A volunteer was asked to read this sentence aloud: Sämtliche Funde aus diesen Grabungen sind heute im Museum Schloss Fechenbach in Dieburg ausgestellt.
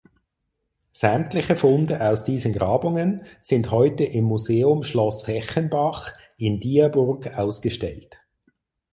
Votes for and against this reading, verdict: 4, 6, rejected